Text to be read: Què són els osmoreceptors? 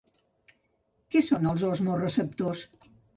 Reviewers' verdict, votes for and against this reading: accepted, 2, 0